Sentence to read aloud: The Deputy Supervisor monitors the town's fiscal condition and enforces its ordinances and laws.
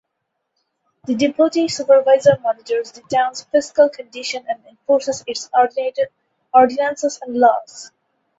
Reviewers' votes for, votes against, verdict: 4, 2, accepted